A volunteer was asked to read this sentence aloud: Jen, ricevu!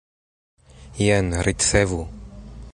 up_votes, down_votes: 2, 1